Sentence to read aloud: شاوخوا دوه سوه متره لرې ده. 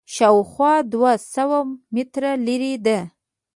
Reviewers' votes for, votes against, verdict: 2, 0, accepted